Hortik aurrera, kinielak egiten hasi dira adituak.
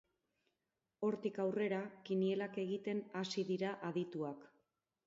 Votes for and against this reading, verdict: 4, 2, accepted